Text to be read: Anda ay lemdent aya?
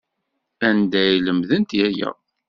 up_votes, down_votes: 2, 0